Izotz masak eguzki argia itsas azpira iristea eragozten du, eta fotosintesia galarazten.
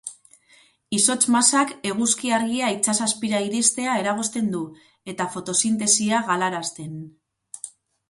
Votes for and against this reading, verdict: 2, 0, accepted